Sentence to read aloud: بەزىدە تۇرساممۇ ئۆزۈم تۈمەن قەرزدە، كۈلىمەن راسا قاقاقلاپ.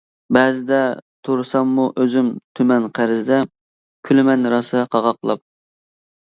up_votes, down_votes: 2, 0